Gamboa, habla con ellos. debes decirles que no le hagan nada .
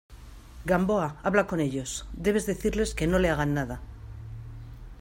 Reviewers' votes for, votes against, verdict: 2, 0, accepted